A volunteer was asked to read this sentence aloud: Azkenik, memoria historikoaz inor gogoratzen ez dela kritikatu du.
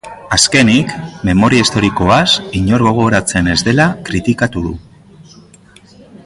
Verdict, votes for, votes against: accepted, 2, 0